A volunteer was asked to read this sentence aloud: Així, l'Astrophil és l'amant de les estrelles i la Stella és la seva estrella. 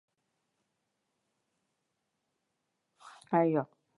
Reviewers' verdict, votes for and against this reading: rejected, 1, 3